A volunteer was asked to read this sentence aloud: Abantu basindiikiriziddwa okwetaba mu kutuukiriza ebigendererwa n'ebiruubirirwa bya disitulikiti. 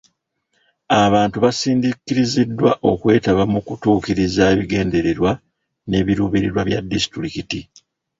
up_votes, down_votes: 0, 2